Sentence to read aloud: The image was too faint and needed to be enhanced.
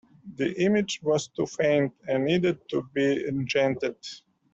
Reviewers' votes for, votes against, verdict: 0, 2, rejected